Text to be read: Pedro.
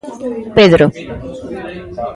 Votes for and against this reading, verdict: 0, 2, rejected